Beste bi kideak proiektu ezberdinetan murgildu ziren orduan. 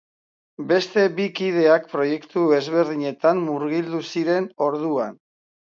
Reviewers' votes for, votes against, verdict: 2, 0, accepted